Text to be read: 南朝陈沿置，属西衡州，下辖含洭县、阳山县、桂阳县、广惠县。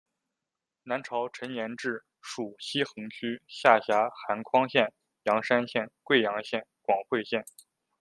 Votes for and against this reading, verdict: 1, 2, rejected